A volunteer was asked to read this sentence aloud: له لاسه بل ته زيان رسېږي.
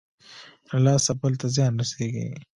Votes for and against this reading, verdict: 2, 0, accepted